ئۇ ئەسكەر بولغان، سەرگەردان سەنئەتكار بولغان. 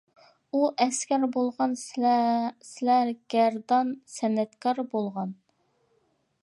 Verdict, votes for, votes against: rejected, 0, 2